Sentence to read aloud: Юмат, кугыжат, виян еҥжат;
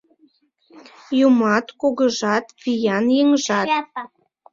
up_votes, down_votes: 2, 0